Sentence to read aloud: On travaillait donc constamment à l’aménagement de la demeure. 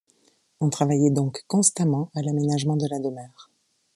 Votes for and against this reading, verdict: 2, 0, accepted